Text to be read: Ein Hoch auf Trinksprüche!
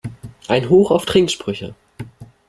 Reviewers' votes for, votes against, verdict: 3, 0, accepted